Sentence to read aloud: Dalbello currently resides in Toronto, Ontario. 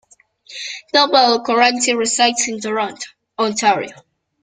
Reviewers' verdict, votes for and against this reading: accepted, 2, 0